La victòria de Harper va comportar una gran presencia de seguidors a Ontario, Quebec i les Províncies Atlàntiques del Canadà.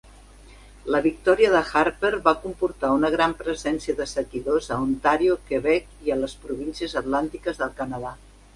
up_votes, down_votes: 1, 2